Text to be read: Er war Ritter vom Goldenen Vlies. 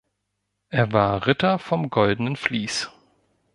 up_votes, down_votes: 2, 0